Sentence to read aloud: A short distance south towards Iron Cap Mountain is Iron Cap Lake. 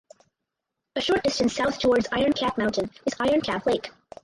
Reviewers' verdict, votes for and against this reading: rejected, 0, 2